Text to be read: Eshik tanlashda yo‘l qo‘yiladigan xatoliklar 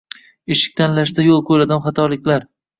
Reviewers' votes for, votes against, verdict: 1, 2, rejected